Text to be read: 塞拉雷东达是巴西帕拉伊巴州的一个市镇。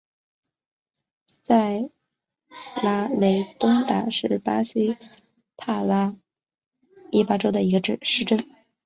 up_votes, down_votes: 1, 2